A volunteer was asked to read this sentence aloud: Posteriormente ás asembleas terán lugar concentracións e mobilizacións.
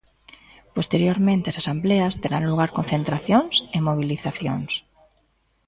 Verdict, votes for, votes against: rejected, 0, 2